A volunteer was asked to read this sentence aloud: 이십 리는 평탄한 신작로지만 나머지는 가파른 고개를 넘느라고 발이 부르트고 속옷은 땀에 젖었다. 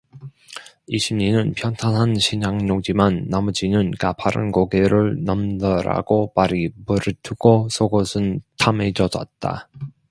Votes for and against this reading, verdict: 1, 2, rejected